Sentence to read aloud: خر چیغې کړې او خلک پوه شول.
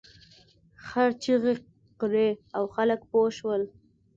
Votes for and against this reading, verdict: 2, 0, accepted